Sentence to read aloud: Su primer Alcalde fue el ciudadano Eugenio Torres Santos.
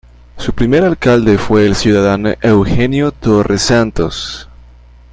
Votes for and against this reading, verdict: 2, 1, accepted